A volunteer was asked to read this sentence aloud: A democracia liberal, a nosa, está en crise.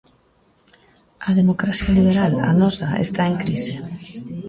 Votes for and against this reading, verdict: 1, 2, rejected